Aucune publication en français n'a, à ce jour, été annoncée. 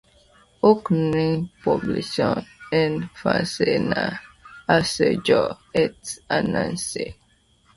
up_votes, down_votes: 0, 2